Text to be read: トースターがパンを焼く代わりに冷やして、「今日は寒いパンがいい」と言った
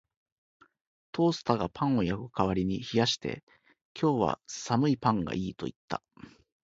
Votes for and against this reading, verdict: 2, 0, accepted